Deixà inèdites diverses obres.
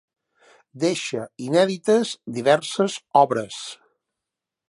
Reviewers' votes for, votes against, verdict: 0, 2, rejected